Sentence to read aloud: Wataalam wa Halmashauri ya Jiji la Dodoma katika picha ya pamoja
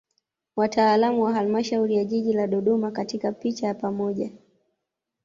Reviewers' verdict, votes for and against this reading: accepted, 2, 0